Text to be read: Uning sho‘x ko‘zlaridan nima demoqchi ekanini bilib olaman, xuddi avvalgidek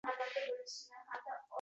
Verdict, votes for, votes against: rejected, 0, 2